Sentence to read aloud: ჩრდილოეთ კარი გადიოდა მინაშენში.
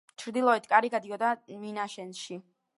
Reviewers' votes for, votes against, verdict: 4, 0, accepted